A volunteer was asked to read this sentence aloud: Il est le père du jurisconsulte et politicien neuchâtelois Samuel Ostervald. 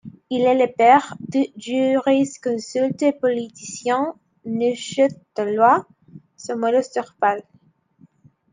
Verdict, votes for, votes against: accepted, 2, 0